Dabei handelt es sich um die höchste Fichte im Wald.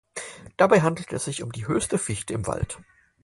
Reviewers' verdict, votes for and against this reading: accepted, 4, 0